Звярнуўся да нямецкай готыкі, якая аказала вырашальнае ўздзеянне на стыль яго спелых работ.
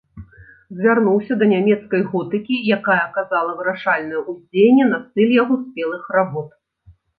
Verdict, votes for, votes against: accepted, 2, 0